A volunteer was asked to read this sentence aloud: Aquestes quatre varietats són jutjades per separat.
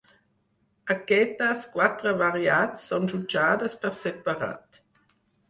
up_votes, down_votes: 2, 4